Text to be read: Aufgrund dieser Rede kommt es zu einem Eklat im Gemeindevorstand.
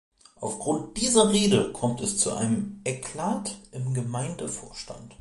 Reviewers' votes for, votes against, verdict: 1, 2, rejected